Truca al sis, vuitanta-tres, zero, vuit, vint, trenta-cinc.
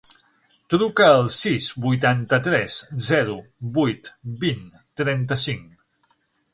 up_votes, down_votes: 9, 0